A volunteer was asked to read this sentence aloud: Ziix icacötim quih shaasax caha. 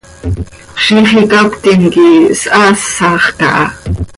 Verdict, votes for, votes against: accepted, 2, 0